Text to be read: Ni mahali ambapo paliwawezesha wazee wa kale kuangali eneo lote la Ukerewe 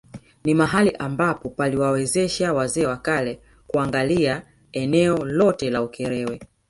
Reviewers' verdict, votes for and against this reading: accepted, 2, 0